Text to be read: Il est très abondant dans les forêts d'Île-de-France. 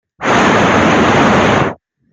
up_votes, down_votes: 0, 2